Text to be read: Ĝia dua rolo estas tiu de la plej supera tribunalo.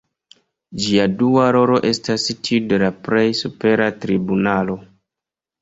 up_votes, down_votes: 2, 1